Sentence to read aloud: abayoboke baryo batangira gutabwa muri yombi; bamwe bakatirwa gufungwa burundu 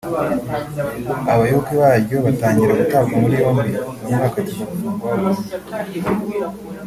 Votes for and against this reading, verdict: 1, 3, rejected